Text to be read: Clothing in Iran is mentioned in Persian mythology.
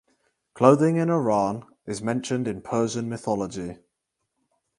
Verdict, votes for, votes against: accepted, 4, 0